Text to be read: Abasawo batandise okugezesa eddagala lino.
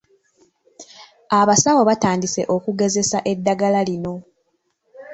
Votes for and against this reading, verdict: 2, 1, accepted